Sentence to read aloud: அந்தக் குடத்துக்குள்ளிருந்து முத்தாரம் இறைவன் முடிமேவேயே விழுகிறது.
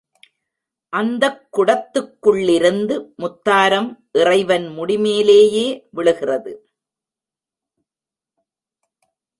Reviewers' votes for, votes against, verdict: 1, 2, rejected